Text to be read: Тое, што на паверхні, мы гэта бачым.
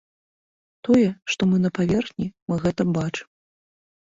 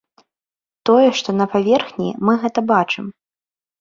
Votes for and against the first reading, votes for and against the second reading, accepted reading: 1, 3, 2, 0, second